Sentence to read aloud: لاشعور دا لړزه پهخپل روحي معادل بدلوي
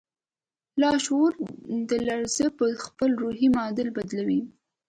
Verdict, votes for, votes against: accepted, 2, 0